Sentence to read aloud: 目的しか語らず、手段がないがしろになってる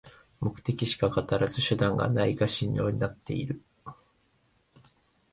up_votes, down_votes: 1, 2